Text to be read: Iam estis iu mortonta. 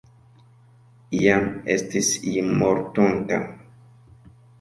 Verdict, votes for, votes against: accepted, 2, 0